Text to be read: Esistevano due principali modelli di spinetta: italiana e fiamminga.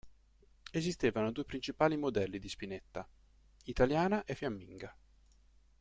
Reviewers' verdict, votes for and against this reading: accepted, 2, 0